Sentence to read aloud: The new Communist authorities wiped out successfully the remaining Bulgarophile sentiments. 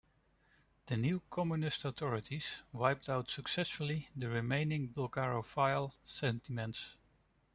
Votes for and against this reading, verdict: 1, 2, rejected